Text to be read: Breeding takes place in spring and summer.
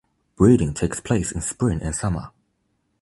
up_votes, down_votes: 2, 0